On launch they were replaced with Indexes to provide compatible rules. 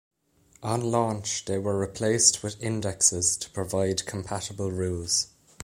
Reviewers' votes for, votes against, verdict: 2, 0, accepted